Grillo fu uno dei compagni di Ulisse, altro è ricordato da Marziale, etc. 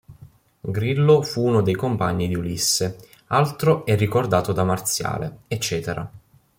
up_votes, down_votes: 2, 0